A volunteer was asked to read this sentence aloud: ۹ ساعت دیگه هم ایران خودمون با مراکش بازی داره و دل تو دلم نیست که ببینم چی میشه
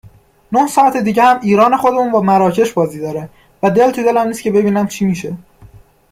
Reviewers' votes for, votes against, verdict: 0, 2, rejected